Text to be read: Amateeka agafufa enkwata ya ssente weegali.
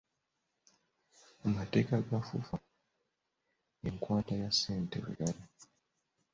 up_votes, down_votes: 0, 3